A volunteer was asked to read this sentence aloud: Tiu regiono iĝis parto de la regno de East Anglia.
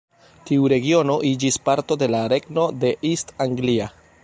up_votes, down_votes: 1, 2